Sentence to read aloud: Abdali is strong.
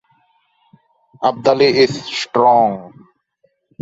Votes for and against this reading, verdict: 2, 0, accepted